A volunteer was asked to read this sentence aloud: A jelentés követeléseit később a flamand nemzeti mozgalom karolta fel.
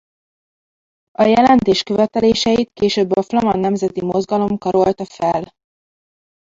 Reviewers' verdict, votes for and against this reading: rejected, 1, 2